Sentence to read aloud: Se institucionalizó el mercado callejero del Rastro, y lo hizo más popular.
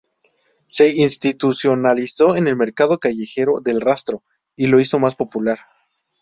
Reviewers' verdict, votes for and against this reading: rejected, 0, 2